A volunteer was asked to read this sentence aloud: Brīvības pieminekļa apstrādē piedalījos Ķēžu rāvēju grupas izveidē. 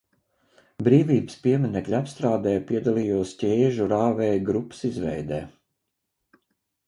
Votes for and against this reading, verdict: 2, 0, accepted